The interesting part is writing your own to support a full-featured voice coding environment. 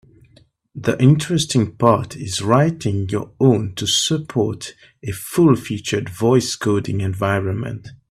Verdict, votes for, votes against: accepted, 2, 0